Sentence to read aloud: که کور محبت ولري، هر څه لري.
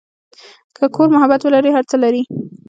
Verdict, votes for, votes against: accepted, 2, 1